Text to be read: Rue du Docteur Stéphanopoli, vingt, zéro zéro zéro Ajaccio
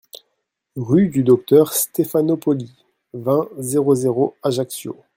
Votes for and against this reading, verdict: 1, 2, rejected